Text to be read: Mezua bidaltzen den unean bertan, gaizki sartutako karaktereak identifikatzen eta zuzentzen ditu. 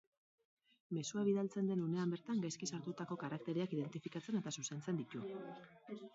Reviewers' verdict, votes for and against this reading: rejected, 0, 2